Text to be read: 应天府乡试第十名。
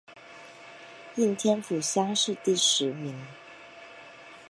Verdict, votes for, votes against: accepted, 2, 0